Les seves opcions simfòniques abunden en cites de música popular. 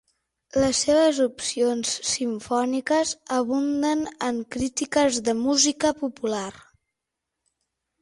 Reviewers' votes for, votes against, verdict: 0, 6, rejected